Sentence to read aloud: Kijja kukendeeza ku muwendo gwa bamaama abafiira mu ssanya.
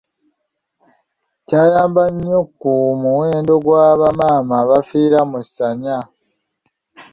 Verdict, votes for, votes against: rejected, 1, 3